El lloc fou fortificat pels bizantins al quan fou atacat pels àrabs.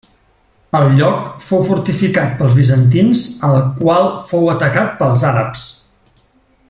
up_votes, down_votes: 1, 2